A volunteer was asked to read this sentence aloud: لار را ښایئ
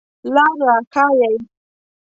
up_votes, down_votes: 2, 0